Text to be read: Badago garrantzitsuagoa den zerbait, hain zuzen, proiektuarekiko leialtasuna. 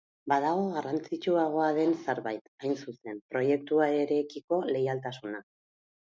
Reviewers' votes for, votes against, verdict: 4, 0, accepted